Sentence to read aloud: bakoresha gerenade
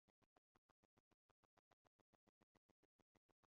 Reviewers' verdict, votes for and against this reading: rejected, 0, 2